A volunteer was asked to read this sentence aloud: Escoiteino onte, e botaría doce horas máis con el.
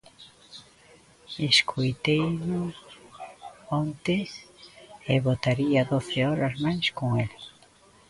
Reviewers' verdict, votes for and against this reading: accepted, 2, 1